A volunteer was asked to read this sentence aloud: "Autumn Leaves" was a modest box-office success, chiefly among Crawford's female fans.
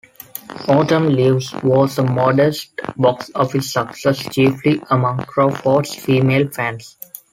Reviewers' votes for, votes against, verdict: 2, 0, accepted